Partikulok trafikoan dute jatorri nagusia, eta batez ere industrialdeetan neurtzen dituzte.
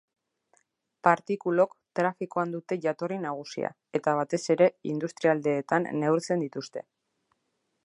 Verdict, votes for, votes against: accepted, 2, 0